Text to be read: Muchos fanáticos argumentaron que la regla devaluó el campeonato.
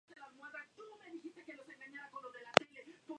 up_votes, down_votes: 0, 2